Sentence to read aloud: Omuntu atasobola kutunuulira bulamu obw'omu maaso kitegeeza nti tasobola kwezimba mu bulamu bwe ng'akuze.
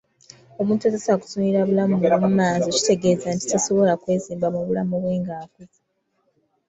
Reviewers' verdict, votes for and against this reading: rejected, 1, 2